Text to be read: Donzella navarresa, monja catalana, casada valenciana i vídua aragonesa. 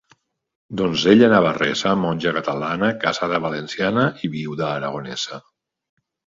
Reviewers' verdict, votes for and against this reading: rejected, 1, 2